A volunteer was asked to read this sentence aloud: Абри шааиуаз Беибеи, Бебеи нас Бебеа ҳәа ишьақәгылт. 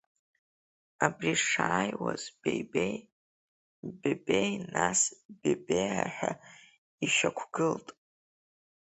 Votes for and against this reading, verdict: 1, 2, rejected